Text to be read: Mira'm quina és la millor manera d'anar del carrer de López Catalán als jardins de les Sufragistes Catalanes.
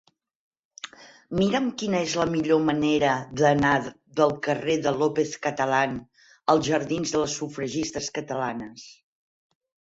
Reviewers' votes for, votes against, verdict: 12, 0, accepted